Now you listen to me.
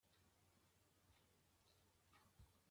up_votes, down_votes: 1, 3